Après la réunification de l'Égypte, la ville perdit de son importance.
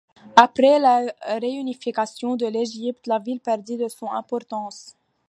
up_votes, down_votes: 2, 0